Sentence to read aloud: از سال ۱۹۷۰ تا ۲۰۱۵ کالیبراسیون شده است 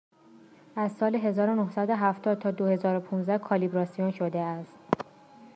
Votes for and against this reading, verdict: 0, 2, rejected